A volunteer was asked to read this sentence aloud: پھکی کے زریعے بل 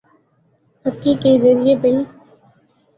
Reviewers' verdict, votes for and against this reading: accepted, 14, 0